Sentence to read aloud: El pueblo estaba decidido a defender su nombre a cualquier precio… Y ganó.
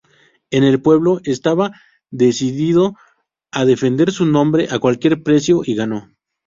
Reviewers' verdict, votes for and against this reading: rejected, 2, 2